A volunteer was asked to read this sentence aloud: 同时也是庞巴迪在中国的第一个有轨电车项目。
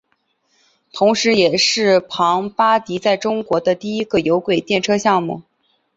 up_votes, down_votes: 2, 0